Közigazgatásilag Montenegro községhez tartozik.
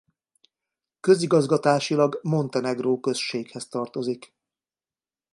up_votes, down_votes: 2, 0